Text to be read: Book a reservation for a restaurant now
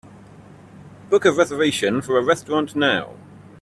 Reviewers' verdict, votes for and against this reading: accepted, 2, 0